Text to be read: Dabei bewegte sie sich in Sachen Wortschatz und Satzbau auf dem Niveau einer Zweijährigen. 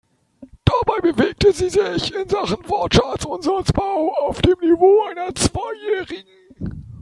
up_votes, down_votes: 2, 1